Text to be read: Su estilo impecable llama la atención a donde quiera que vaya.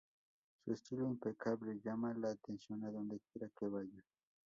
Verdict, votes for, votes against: accepted, 2, 0